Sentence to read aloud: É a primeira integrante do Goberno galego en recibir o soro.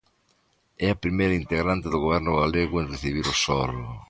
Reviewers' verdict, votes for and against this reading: accepted, 2, 0